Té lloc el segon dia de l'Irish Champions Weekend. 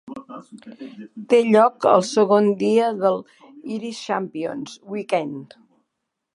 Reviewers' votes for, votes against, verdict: 0, 2, rejected